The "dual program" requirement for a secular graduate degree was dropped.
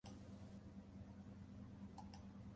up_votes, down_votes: 0, 2